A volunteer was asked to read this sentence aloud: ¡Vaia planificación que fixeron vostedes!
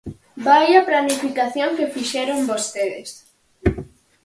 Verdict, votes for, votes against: accepted, 4, 0